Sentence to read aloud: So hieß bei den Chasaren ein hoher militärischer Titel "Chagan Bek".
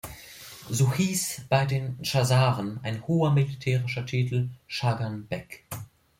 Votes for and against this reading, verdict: 2, 0, accepted